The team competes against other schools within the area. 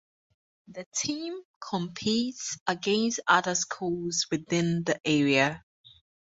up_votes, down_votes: 4, 0